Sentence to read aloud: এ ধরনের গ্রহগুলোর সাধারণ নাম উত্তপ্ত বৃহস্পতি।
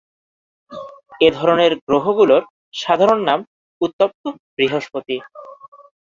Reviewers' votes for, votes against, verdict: 2, 0, accepted